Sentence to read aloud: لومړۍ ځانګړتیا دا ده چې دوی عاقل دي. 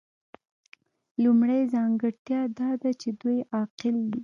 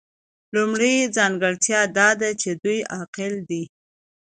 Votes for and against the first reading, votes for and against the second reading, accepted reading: 1, 2, 2, 0, second